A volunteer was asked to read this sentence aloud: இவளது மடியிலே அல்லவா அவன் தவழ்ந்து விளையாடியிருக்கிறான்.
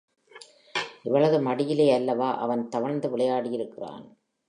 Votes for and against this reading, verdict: 2, 0, accepted